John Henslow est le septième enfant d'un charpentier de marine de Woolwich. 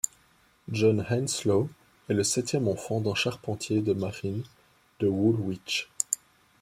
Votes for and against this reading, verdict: 2, 0, accepted